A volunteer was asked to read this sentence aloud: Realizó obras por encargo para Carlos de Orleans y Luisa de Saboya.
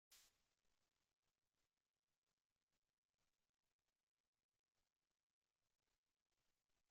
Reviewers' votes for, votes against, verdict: 0, 2, rejected